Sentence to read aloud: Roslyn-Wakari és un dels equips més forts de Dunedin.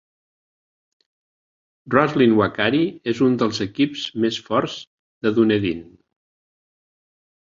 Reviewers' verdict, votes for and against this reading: accepted, 3, 0